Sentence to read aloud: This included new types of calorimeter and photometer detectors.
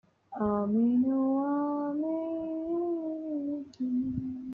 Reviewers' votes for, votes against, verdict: 0, 2, rejected